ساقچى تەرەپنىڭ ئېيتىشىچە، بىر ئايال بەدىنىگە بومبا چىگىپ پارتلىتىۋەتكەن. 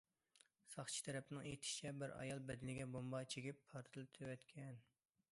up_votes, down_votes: 2, 0